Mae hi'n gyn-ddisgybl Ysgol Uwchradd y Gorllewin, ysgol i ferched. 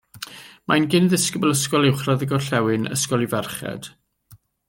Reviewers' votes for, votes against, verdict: 1, 2, rejected